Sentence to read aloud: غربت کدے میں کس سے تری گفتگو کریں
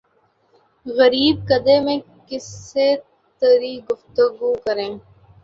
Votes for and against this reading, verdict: 0, 3, rejected